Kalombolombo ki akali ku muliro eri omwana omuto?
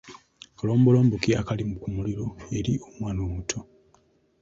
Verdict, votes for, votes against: rejected, 1, 2